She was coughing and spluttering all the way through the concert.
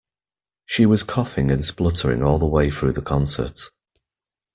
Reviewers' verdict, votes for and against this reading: accepted, 2, 0